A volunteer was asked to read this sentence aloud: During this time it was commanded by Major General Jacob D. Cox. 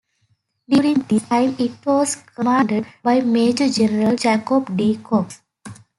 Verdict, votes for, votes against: accepted, 4, 1